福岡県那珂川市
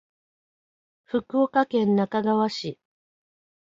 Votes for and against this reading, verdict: 5, 0, accepted